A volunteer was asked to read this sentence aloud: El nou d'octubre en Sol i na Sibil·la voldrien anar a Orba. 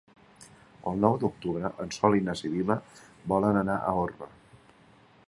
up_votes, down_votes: 0, 2